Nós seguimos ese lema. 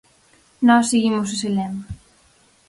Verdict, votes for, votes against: accepted, 4, 0